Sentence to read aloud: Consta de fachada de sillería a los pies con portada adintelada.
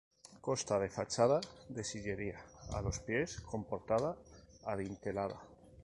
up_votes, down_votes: 2, 0